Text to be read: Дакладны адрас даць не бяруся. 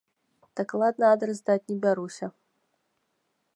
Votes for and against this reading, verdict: 2, 0, accepted